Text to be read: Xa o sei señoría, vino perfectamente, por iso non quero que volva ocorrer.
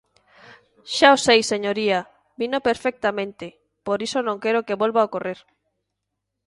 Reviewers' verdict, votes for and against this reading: accepted, 2, 0